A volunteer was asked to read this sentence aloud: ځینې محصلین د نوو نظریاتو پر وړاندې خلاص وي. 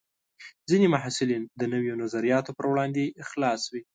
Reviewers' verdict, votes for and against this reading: accepted, 2, 0